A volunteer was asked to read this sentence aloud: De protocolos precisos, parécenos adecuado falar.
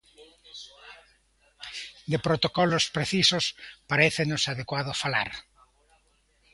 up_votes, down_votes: 2, 0